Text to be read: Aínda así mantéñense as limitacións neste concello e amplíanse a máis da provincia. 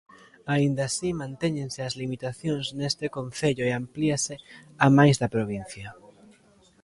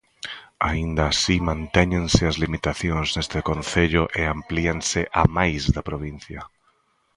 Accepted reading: second